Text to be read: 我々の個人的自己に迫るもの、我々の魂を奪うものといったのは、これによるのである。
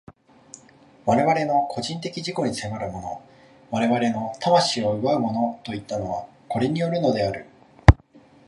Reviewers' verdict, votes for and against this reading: accepted, 2, 0